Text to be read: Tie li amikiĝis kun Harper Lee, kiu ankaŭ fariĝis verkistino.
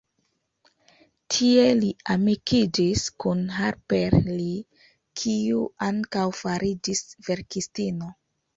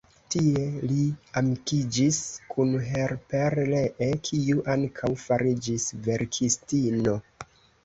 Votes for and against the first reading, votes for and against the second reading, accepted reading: 2, 0, 1, 2, first